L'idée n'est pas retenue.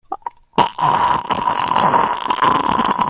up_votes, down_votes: 0, 2